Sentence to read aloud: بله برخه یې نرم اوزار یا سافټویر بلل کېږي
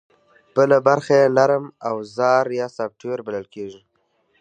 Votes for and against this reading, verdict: 2, 0, accepted